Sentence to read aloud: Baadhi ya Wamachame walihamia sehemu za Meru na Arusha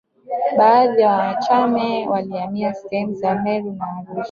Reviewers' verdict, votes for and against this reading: rejected, 0, 2